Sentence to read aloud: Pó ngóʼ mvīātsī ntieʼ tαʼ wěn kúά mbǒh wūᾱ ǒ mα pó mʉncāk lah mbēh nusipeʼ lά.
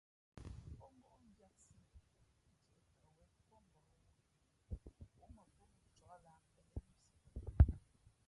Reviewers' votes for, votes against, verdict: 1, 2, rejected